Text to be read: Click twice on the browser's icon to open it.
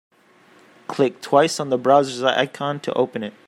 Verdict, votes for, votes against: accepted, 2, 1